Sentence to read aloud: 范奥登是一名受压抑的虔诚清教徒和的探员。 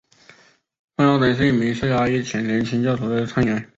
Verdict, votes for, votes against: accepted, 5, 4